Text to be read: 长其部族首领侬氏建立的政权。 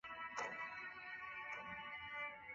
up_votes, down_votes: 0, 2